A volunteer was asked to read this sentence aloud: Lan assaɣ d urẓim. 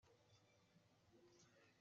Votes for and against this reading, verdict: 1, 2, rejected